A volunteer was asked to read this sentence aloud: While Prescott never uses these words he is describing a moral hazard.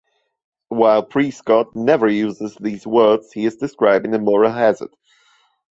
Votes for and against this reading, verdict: 2, 0, accepted